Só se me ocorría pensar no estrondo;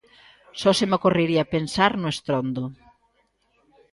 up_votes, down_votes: 0, 2